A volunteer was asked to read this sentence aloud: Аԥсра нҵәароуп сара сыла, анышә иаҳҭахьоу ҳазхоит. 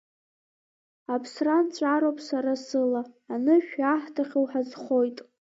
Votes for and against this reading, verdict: 2, 0, accepted